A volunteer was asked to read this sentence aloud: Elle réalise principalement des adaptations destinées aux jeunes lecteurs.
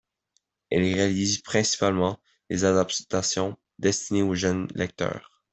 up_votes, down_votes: 2, 0